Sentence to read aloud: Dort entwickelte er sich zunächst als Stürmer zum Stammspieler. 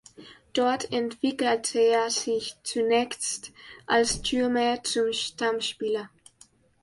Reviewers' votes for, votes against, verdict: 2, 0, accepted